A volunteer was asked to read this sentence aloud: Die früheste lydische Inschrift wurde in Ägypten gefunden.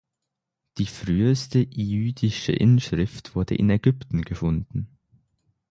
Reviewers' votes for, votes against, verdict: 0, 6, rejected